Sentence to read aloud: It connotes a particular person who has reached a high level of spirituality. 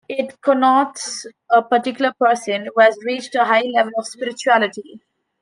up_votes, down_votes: 3, 0